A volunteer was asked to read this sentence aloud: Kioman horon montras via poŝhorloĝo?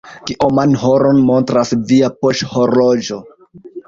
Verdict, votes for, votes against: rejected, 0, 2